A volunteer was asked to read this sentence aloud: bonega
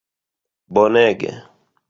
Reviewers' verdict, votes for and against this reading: rejected, 1, 2